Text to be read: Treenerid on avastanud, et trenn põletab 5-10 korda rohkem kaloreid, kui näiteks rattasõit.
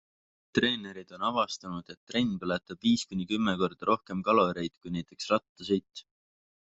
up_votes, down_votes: 0, 2